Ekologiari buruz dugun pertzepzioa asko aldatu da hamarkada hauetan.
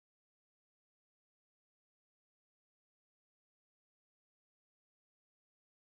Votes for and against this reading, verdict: 0, 3, rejected